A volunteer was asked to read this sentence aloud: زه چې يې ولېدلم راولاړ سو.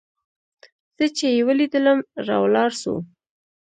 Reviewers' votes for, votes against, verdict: 1, 2, rejected